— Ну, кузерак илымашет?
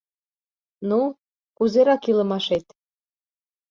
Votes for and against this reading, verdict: 2, 0, accepted